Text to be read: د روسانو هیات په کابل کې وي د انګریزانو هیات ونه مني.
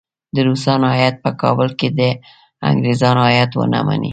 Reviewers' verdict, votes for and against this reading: accepted, 2, 1